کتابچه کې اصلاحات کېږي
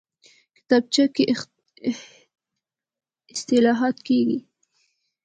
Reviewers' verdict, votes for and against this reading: rejected, 1, 2